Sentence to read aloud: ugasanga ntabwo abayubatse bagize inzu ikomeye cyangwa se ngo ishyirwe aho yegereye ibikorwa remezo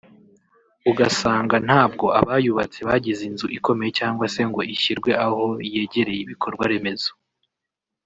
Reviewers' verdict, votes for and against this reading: rejected, 0, 2